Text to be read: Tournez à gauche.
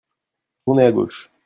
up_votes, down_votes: 2, 0